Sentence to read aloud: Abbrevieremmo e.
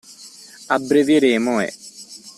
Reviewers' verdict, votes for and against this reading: accepted, 2, 0